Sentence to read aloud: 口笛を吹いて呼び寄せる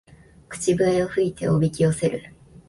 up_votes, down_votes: 1, 2